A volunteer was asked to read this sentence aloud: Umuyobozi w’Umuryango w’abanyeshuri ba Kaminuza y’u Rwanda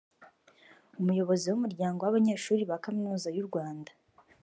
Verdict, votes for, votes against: accepted, 3, 0